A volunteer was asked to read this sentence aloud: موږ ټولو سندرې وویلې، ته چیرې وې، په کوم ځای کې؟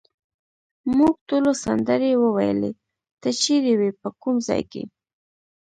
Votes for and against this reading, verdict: 2, 0, accepted